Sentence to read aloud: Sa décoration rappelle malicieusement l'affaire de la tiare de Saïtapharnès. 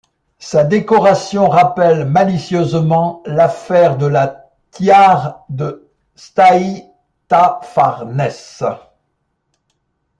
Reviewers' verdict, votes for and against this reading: rejected, 1, 2